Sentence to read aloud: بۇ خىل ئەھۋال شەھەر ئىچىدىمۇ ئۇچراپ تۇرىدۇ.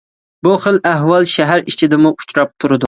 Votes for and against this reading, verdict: 2, 0, accepted